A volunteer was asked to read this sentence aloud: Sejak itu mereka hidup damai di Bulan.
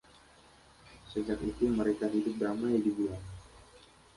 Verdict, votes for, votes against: accepted, 2, 0